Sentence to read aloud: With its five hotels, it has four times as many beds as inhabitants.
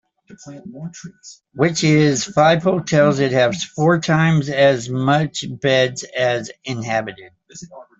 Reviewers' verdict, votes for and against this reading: rejected, 0, 2